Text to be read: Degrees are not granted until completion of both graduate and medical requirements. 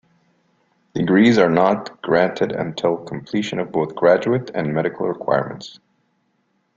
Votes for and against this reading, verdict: 2, 1, accepted